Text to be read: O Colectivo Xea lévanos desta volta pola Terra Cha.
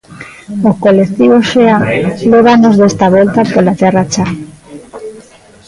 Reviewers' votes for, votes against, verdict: 0, 2, rejected